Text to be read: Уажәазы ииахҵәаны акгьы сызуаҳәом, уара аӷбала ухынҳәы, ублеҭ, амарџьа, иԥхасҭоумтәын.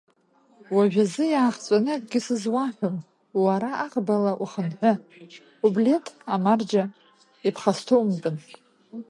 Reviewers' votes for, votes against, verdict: 0, 2, rejected